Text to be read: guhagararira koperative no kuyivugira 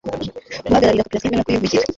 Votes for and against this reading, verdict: 0, 2, rejected